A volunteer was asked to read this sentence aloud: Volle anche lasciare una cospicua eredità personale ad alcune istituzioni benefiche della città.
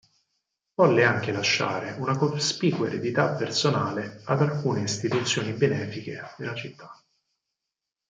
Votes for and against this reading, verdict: 0, 4, rejected